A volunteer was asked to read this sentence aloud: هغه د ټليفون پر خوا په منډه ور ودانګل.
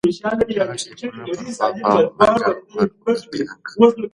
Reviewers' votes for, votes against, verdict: 2, 1, accepted